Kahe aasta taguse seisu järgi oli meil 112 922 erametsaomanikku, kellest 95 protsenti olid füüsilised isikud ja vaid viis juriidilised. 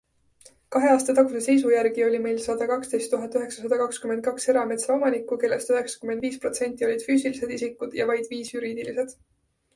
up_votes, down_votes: 0, 2